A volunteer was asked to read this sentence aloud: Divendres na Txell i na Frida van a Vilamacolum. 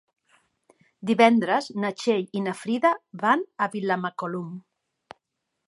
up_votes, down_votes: 3, 0